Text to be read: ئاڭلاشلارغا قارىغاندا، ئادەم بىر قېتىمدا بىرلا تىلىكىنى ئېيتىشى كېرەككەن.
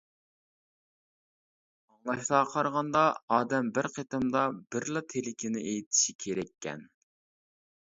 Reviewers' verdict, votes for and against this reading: rejected, 0, 2